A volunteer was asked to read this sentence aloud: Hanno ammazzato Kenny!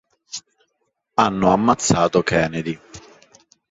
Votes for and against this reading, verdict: 1, 2, rejected